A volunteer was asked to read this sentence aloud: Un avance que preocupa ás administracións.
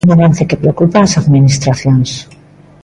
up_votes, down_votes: 2, 0